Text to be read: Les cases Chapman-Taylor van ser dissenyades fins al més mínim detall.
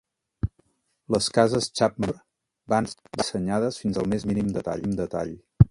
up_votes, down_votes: 1, 2